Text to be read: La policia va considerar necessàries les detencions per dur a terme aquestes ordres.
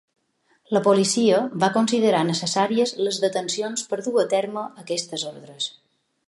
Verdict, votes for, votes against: accepted, 3, 0